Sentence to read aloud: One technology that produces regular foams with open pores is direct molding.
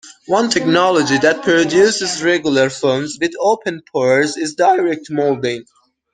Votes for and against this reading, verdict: 1, 2, rejected